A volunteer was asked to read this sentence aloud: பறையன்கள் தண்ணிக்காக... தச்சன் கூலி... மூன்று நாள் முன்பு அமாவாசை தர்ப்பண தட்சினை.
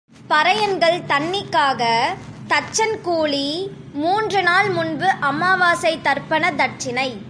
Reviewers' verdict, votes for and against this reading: accepted, 3, 0